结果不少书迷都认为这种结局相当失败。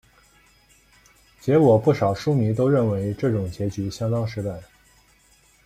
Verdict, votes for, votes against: rejected, 0, 2